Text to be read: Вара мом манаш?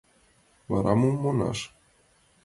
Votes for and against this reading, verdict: 2, 0, accepted